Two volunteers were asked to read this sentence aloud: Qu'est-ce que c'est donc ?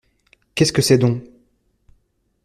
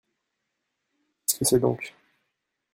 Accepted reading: first